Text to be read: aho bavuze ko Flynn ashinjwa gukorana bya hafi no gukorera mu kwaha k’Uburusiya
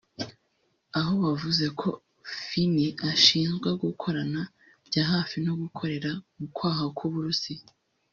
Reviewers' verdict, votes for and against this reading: rejected, 1, 2